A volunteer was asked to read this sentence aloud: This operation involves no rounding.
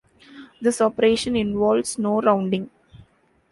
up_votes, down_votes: 2, 0